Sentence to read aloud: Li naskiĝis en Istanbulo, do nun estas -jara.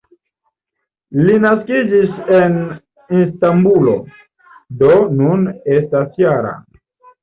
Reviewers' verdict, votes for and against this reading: rejected, 1, 2